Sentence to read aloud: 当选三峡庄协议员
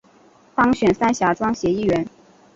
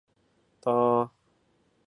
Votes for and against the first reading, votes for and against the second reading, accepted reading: 3, 0, 0, 2, first